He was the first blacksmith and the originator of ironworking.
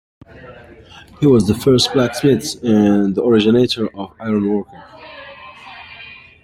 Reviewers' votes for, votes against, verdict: 2, 1, accepted